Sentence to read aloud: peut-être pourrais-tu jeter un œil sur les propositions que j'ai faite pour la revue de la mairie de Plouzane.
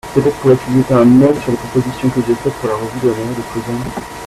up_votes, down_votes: 0, 2